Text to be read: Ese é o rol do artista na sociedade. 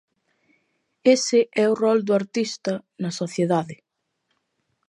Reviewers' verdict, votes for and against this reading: rejected, 0, 2